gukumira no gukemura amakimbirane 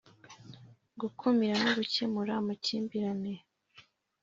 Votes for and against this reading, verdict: 3, 0, accepted